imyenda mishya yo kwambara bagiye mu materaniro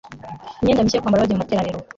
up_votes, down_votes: 1, 2